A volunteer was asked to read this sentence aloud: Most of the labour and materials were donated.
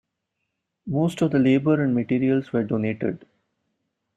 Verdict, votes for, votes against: accepted, 2, 0